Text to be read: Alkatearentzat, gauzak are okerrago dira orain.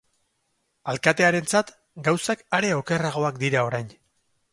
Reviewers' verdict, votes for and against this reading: rejected, 0, 4